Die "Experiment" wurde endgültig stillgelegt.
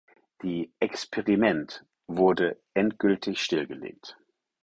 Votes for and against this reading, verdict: 4, 0, accepted